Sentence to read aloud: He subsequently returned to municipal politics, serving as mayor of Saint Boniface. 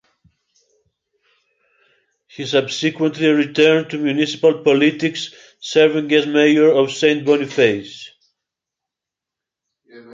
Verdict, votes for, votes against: accepted, 2, 0